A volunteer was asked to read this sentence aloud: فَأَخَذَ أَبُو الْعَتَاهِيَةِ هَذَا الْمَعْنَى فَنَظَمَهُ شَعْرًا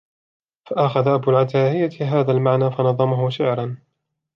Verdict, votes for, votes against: accepted, 3, 0